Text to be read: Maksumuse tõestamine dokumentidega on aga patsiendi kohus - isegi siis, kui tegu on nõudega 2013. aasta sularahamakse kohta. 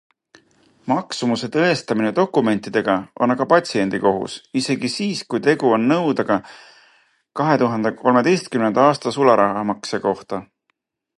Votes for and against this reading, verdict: 0, 2, rejected